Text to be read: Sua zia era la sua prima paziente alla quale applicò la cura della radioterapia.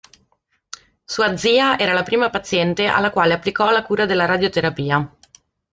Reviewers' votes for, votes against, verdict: 1, 2, rejected